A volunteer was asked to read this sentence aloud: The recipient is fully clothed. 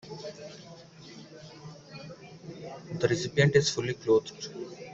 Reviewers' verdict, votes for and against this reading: accepted, 2, 0